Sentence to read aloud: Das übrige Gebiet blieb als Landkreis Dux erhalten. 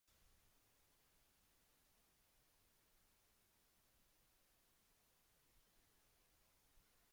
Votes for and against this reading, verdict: 0, 2, rejected